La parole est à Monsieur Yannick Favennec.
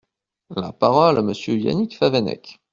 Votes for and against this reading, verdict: 0, 2, rejected